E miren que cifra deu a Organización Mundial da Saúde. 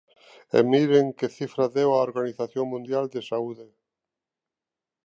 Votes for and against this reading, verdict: 0, 2, rejected